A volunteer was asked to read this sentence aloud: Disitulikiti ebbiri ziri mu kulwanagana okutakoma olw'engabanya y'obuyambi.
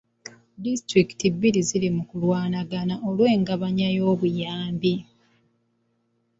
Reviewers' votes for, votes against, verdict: 0, 2, rejected